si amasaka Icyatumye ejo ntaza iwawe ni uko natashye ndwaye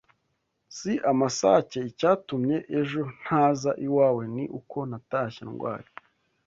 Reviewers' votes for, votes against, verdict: 0, 2, rejected